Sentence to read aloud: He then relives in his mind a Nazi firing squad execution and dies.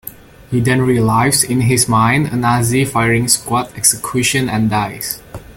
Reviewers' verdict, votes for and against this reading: rejected, 1, 2